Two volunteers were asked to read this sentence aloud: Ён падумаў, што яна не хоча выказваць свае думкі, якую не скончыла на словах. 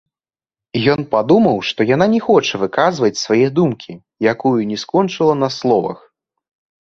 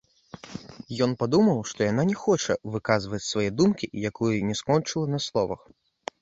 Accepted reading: first